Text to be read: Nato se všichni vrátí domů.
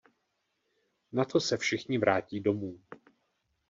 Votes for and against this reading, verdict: 2, 0, accepted